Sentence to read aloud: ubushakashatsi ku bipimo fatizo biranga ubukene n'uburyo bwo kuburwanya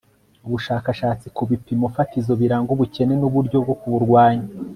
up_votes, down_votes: 0, 2